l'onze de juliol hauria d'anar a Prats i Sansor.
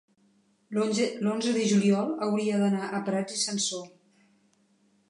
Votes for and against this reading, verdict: 1, 2, rejected